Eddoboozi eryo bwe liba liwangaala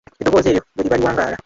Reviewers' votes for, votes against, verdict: 0, 2, rejected